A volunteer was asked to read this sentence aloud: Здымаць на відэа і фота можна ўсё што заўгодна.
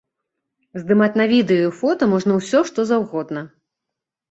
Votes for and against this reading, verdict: 2, 0, accepted